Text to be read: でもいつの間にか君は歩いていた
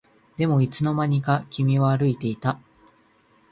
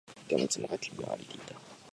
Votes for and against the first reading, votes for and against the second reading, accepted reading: 4, 1, 0, 2, first